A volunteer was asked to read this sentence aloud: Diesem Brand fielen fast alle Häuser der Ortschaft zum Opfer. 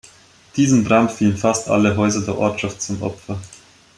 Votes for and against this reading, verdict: 2, 0, accepted